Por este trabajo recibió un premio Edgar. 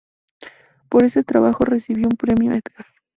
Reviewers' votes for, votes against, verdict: 2, 0, accepted